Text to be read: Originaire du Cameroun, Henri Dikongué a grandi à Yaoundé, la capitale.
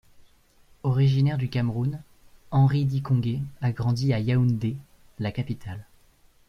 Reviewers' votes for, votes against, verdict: 2, 0, accepted